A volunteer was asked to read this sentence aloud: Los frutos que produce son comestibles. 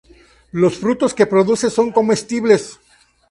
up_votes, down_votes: 0, 2